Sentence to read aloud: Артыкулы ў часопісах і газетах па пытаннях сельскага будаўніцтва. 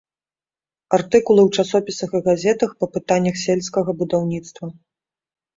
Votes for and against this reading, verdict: 2, 0, accepted